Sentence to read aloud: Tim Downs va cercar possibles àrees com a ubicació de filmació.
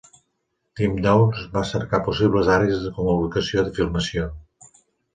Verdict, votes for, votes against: accepted, 2, 1